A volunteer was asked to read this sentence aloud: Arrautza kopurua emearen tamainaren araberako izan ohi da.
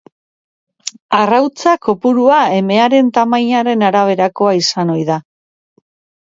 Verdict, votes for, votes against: accepted, 3, 0